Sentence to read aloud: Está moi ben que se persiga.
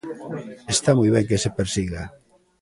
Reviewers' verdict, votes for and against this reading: accepted, 2, 0